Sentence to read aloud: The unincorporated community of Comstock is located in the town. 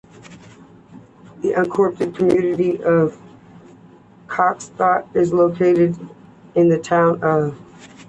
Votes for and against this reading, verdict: 1, 2, rejected